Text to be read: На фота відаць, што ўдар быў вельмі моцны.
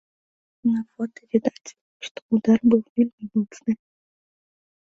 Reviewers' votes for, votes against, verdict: 2, 1, accepted